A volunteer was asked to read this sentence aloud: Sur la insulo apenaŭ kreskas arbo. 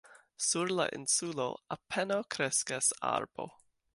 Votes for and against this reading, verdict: 1, 2, rejected